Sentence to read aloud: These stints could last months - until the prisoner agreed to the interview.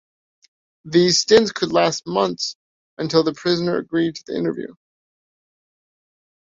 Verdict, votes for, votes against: accepted, 2, 0